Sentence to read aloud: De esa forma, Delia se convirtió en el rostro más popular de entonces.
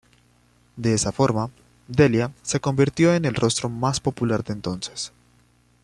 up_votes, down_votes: 2, 1